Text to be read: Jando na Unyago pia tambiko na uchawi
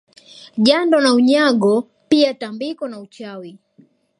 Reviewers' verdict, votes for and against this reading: accepted, 2, 0